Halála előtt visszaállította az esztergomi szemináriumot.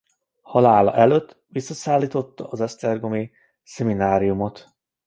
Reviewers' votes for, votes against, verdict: 0, 2, rejected